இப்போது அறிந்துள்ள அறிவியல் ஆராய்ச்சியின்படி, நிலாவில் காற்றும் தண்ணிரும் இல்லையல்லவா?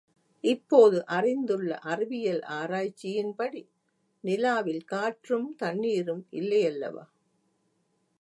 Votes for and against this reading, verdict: 2, 0, accepted